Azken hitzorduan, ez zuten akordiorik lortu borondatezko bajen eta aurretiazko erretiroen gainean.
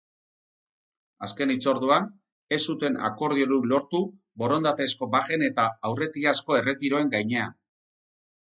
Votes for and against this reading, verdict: 2, 4, rejected